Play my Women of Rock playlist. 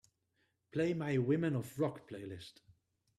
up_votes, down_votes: 2, 0